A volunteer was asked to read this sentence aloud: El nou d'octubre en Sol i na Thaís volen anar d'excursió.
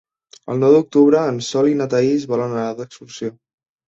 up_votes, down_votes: 3, 0